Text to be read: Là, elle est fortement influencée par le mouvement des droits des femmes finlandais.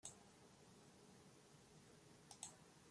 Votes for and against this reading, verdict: 0, 3, rejected